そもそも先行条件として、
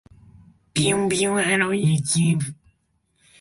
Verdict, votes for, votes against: rejected, 0, 3